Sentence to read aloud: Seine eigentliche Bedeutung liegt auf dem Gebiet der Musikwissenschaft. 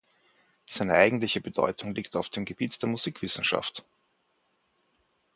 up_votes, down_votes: 4, 0